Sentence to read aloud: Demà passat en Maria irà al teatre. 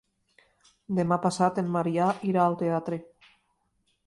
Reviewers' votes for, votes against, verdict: 2, 1, accepted